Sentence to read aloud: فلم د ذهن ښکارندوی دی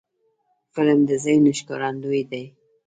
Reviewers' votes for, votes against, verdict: 1, 2, rejected